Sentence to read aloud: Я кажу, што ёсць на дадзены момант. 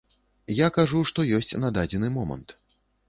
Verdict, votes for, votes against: accepted, 2, 0